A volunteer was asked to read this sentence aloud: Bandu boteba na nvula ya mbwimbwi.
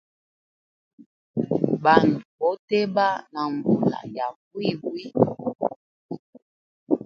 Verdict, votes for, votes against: rejected, 1, 3